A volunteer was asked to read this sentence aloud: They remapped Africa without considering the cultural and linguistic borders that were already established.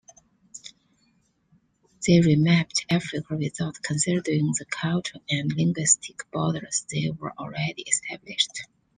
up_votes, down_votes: 2, 0